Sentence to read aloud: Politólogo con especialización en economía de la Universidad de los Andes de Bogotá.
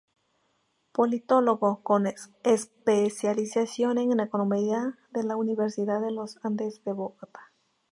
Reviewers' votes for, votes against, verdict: 0, 2, rejected